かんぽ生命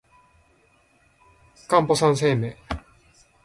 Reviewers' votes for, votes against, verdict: 0, 2, rejected